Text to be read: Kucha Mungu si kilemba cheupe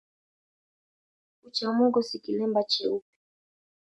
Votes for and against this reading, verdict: 2, 1, accepted